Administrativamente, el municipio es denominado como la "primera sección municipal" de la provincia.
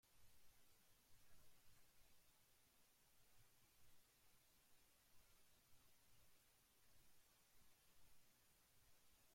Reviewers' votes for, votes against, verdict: 0, 2, rejected